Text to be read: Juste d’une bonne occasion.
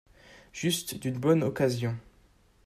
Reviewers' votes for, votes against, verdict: 2, 0, accepted